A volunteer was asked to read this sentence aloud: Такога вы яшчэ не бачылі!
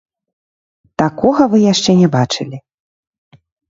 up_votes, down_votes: 0, 2